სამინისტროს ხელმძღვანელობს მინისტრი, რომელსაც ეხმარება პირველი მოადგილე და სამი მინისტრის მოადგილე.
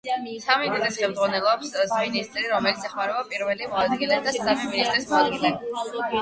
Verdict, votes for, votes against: rejected, 4, 8